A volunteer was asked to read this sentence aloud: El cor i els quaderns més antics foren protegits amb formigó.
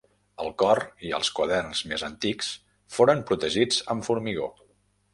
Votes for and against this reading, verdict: 2, 0, accepted